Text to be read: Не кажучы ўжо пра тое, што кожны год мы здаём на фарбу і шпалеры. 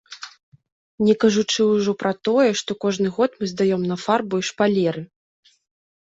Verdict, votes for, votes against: rejected, 1, 2